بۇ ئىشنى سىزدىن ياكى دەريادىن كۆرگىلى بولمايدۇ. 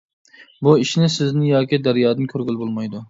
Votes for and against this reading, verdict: 2, 0, accepted